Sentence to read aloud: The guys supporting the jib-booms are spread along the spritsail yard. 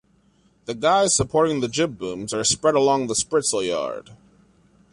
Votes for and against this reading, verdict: 2, 0, accepted